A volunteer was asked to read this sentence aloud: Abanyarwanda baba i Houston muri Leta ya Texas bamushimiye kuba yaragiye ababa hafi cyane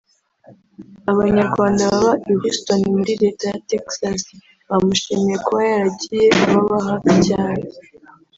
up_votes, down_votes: 2, 3